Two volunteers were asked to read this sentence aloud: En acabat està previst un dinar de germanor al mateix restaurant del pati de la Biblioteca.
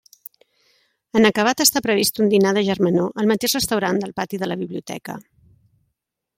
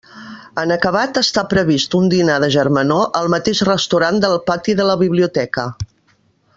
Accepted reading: first